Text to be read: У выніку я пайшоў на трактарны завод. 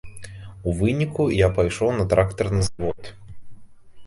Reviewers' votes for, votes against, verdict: 1, 2, rejected